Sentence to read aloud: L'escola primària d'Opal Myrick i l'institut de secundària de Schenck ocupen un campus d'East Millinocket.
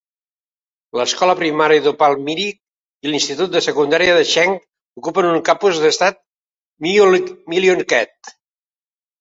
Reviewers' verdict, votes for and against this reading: rejected, 1, 2